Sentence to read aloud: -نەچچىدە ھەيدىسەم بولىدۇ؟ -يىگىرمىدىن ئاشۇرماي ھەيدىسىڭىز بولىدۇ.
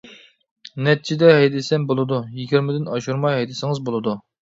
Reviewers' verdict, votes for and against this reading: accepted, 2, 0